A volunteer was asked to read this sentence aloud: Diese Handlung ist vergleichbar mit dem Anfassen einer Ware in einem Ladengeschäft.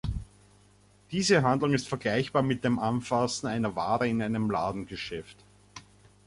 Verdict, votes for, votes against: accepted, 2, 0